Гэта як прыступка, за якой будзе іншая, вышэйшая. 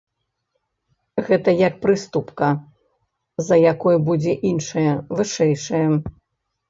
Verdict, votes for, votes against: rejected, 1, 2